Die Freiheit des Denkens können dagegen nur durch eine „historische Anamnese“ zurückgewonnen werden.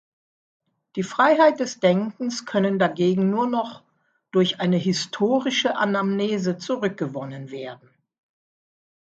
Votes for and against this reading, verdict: 0, 2, rejected